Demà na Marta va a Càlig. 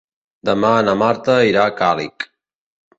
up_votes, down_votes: 1, 2